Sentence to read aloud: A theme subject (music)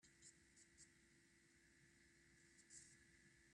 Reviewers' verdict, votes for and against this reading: rejected, 0, 2